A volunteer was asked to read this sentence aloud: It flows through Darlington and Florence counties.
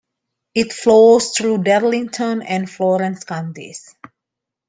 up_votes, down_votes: 2, 0